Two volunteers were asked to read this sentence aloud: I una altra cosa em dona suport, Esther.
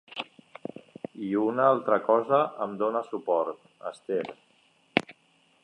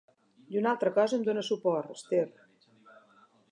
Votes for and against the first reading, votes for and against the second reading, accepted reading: 3, 0, 0, 2, first